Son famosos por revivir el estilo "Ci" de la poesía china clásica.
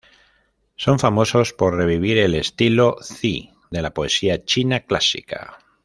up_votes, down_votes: 0, 2